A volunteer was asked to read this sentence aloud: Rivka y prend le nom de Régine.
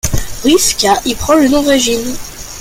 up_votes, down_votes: 0, 2